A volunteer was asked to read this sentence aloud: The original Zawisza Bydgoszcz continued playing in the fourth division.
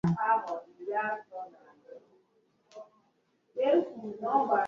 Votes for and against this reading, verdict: 1, 2, rejected